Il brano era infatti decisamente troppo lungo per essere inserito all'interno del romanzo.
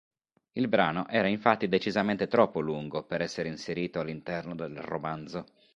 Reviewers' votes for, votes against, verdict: 2, 0, accepted